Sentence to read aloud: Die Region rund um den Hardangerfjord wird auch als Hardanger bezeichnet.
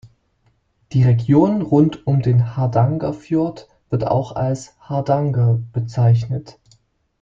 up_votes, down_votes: 1, 3